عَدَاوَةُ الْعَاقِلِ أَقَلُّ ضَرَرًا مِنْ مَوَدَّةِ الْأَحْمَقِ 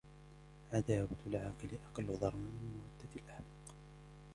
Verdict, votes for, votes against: rejected, 1, 2